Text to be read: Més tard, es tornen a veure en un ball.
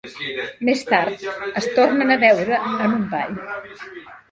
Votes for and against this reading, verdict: 0, 2, rejected